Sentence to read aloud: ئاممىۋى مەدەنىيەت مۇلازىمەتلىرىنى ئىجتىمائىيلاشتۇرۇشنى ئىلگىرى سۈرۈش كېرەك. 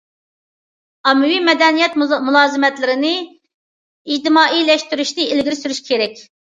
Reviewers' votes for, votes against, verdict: 0, 2, rejected